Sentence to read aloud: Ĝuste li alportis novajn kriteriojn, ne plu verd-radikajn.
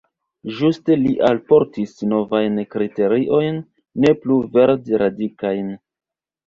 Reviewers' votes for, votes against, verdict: 0, 2, rejected